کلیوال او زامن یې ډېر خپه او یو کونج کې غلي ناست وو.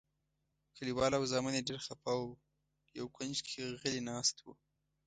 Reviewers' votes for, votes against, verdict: 3, 0, accepted